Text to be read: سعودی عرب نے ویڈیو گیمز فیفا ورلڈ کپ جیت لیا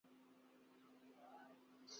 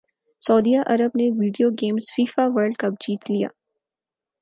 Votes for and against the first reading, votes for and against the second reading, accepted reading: 0, 6, 4, 0, second